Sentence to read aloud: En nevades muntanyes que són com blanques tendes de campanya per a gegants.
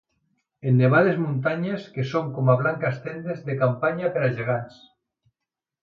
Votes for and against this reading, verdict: 1, 2, rejected